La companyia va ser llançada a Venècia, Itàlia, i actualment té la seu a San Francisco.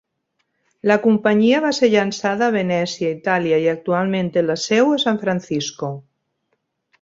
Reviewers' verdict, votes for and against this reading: accepted, 3, 2